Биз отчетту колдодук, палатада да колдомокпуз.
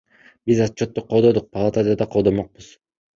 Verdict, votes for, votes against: accepted, 2, 0